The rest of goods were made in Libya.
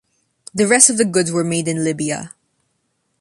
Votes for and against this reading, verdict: 2, 1, accepted